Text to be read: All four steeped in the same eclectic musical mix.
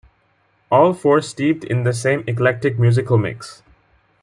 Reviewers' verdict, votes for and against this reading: accepted, 2, 0